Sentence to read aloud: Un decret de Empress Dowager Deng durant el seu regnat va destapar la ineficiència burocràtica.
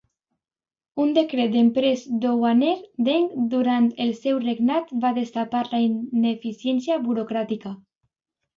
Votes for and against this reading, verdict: 2, 1, accepted